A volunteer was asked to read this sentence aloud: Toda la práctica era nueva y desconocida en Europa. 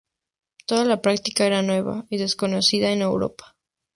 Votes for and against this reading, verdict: 2, 0, accepted